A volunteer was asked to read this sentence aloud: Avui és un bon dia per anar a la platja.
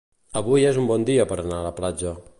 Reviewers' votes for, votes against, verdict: 2, 1, accepted